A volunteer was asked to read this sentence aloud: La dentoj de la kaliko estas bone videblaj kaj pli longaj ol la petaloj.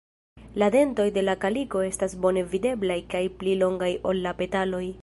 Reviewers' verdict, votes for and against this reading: rejected, 1, 2